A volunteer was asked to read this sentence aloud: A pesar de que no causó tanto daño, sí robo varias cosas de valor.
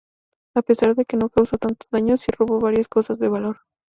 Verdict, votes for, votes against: accepted, 2, 0